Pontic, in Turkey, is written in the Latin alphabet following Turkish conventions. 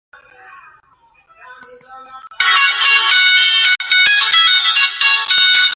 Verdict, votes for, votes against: rejected, 0, 2